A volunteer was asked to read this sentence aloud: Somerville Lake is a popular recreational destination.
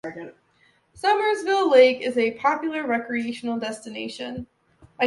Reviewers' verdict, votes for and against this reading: rejected, 0, 2